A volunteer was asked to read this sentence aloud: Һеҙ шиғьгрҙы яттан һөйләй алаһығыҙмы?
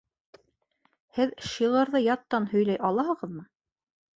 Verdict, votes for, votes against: accepted, 2, 1